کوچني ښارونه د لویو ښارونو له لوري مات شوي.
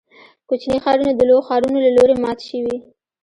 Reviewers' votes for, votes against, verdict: 2, 1, accepted